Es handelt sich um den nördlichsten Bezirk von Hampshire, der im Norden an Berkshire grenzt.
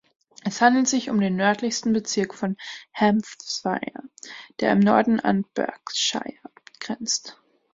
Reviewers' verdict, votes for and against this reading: rejected, 0, 3